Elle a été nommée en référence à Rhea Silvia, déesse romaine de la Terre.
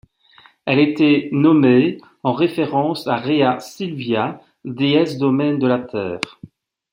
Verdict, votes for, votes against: rejected, 1, 2